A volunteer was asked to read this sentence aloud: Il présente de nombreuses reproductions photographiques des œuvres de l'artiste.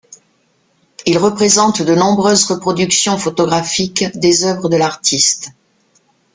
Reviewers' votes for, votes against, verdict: 1, 2, rejected